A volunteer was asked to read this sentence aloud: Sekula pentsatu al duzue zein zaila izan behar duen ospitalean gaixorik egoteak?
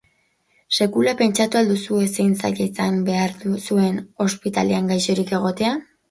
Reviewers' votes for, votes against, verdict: 0, 4, rejected